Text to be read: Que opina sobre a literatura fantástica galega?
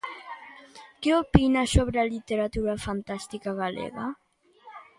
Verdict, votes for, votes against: rejected, 1, 2